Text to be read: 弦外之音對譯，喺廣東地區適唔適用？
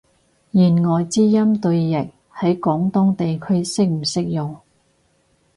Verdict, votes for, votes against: accepted, 2, 0